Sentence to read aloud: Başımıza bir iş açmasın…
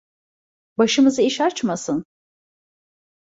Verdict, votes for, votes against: rejected, 1, 2